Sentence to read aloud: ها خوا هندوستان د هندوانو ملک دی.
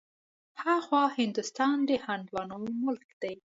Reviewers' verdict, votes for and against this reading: accepted, 2, 0